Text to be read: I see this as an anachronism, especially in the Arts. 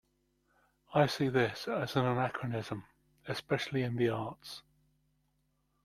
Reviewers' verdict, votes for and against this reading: rejected, 0, 2